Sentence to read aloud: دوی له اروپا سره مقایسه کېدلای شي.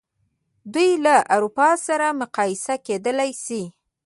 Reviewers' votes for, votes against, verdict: 0, 3, rejected